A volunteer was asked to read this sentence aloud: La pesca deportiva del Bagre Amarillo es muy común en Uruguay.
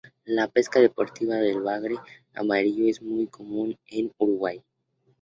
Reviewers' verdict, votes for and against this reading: accepted, 2, 0